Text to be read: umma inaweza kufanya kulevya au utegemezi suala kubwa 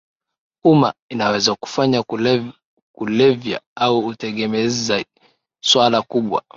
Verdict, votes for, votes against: accepted, 2, 1